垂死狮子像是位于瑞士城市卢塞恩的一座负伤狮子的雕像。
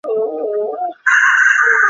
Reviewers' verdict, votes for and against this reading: rejected, 0, 2